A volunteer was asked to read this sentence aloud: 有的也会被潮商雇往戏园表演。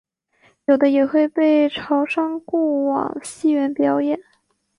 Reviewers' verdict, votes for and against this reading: accepted, 3, 0